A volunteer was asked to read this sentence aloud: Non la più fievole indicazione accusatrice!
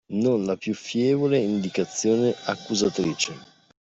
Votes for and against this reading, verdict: 2, 0, accepted